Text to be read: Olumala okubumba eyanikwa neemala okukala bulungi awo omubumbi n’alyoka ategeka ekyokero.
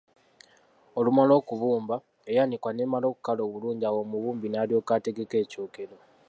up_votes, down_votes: 2, 0